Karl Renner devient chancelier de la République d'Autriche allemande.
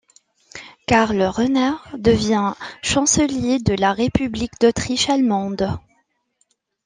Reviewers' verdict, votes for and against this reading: accepted, 2, 0